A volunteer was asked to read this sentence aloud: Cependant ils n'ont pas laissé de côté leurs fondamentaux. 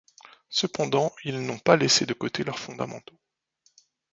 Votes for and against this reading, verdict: 1, 2, rejected